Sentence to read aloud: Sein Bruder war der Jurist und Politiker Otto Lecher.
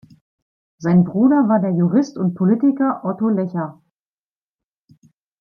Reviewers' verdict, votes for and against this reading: accepted, 2, 0